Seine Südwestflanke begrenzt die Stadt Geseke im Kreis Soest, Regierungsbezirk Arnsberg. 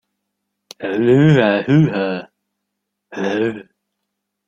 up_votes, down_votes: 0, 2